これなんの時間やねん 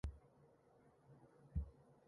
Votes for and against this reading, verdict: 0, 2, rejected